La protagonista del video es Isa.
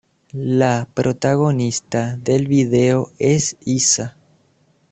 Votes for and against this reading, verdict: 2, 0, accepted